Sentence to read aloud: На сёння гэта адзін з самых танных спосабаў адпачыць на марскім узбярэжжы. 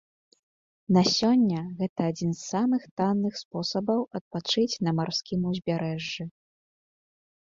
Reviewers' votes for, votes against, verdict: 2, 0, accepted